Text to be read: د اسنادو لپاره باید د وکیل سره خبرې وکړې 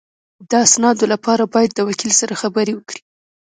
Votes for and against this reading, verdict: 0, 2, rejected